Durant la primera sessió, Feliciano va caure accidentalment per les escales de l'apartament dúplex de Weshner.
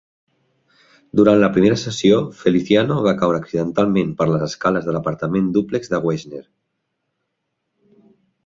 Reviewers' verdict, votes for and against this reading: rejected, 0, 2